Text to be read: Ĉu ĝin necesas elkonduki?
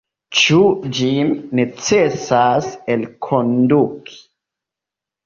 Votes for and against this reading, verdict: 1, 2, rejected